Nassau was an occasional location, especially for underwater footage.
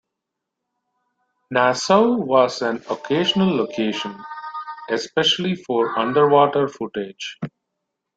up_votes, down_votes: 1, 2